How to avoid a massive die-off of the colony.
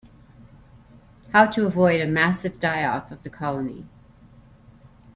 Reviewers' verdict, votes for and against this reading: accepted, 3, 0